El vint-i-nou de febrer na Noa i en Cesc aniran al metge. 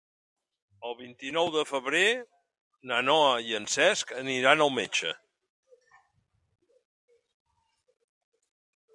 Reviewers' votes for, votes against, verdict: 2, 0, accepted